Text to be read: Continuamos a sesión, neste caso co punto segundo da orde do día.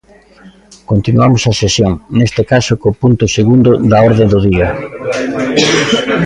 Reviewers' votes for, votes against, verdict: 2, 0, accepted